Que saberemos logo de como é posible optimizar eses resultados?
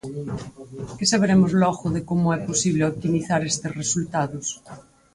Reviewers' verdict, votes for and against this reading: rejected, 0, 4